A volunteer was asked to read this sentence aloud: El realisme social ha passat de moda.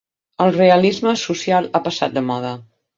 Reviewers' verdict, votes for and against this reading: accepted, 12, 0